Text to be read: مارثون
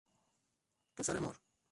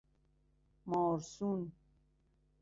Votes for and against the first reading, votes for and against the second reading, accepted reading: 0, 2, 2, 0, second